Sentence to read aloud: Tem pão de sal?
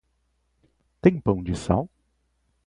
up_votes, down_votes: 4, 0